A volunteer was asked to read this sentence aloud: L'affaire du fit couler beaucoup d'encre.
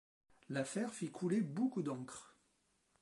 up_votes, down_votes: 0, 2